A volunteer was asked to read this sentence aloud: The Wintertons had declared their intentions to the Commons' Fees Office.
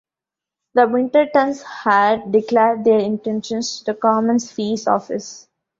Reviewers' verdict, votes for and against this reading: rejected, 0, 2